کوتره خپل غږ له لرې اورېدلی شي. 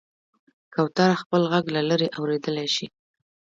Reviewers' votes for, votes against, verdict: 1, 2, rejected